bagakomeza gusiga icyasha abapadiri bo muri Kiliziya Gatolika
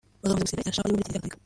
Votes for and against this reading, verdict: 0, 2, rejected